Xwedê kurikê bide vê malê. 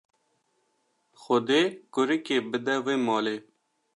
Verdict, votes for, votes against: accepted, 2, 0